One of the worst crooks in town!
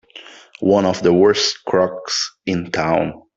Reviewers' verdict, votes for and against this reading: accepted, 3, 0